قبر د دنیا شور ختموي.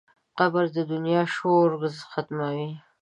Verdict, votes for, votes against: accepted, 2, 0